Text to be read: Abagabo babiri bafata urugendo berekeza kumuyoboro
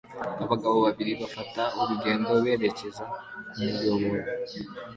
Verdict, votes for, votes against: accepted, 2, 0